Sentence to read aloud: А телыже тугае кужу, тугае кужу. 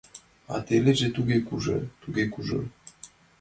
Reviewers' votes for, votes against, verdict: 0, 4, rejected